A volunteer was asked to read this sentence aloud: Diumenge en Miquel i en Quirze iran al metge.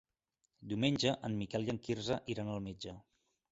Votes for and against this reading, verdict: 2, 0, accepted